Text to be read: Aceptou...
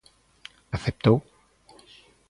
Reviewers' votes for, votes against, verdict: 2, 0, accepted